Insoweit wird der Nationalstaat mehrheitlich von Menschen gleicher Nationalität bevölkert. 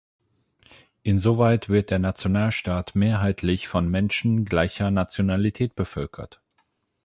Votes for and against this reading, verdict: 4, 8, rejected